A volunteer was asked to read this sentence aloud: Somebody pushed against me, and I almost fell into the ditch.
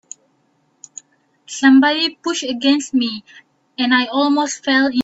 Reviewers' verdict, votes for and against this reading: rejected, 0, 3